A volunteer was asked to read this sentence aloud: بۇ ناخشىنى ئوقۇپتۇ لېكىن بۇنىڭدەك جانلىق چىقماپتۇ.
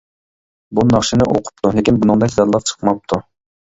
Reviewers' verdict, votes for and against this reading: accepted, 2, 1